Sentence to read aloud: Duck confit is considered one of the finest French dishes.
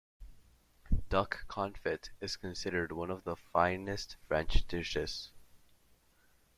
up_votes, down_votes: 0, 2